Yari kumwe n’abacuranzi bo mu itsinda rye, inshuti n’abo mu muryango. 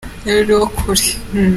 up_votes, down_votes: 0, 5